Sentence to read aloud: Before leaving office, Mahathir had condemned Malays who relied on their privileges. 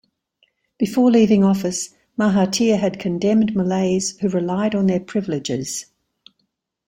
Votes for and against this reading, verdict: 2, 0, accepted